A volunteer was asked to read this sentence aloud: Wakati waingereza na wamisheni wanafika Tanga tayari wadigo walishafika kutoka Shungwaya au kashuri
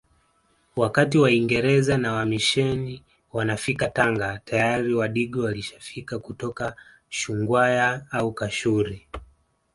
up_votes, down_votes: 2, 0